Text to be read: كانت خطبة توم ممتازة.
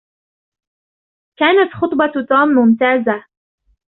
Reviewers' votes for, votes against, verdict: 2, 0, accepted